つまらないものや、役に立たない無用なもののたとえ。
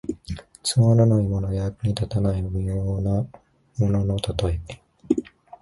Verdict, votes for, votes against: accepted, 2, 0